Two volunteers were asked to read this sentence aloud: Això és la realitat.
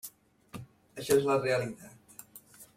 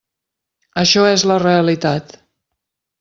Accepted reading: second